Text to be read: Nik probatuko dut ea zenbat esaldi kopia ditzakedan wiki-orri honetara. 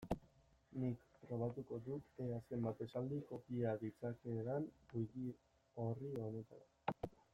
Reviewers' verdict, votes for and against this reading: rejected, 0, 2